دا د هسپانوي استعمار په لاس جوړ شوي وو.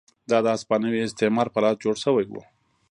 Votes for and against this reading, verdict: 2, 0, accepted